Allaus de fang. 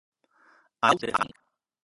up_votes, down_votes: 0, 2